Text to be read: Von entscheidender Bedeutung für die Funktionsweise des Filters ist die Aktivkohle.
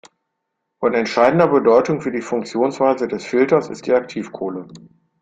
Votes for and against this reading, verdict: 2, 0, accepted